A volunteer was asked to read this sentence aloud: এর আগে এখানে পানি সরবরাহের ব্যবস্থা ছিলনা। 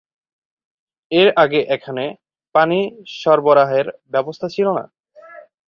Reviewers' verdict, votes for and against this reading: accepted, 6, 0